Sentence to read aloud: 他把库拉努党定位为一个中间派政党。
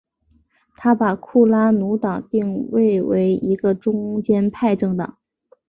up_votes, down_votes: 3, 0